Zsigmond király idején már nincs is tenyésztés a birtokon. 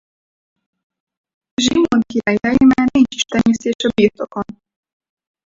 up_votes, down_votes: 2, 4